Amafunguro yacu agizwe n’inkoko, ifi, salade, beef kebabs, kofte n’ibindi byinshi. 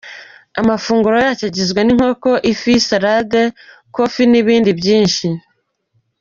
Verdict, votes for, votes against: rejected, 0, 2